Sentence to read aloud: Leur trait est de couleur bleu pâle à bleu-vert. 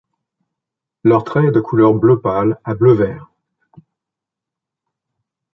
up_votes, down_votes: 2, 0